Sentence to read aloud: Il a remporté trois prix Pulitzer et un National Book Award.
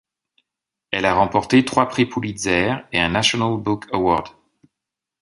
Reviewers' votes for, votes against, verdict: 0, 2, rejected